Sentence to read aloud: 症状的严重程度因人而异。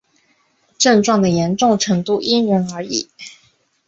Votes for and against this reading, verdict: 3, 0, accepted